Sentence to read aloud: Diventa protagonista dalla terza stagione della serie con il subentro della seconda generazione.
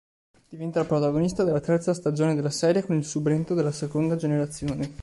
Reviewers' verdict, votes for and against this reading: rejected, 1, 2